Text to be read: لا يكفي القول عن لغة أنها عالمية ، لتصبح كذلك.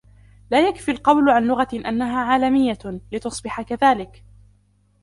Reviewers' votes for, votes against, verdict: 0, 2, rejected